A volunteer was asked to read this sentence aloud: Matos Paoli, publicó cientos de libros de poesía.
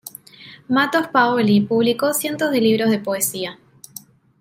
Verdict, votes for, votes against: rejected, 1, 2